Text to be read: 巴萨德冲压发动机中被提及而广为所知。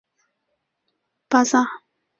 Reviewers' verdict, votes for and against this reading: rejected, 0, 2